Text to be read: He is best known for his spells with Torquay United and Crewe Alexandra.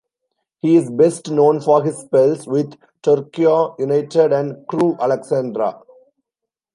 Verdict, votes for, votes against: rejected, 1, 2